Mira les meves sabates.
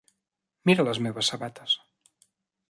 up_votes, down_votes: 3, 0